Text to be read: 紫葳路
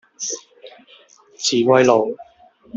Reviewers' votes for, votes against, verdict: 1, 2, rejected